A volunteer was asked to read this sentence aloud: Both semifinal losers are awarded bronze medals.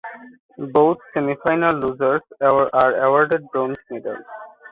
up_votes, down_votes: 1, 2